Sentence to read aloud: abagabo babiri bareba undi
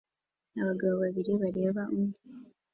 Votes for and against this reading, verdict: 3, 1, accepted